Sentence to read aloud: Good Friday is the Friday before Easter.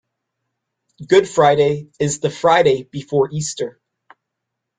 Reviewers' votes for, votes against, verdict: 2, 0, accepted